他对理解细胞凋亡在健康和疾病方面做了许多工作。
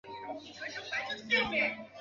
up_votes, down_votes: 1, 2